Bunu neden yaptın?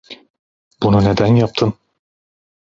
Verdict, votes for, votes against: accepted, 2, 0